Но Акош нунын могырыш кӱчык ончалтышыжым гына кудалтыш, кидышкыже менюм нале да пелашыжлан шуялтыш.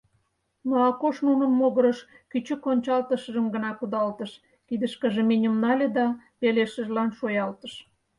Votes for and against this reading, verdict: 0, 4, rejected